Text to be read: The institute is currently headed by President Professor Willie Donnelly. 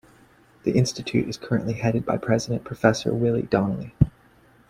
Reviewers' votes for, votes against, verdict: 2, 0, accepted